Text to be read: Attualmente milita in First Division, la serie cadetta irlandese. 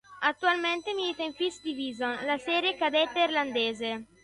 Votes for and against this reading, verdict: 1, 2, rejected